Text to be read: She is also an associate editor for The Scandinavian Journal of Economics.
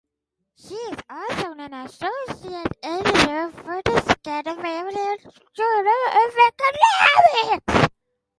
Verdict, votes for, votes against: rejected, 0, 4